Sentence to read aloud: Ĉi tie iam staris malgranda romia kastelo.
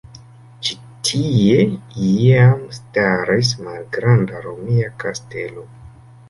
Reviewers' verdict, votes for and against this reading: rejected, 0, 2